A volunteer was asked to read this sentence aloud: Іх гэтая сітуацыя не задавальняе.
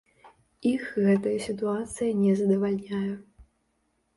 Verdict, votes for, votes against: accepted, 2, 0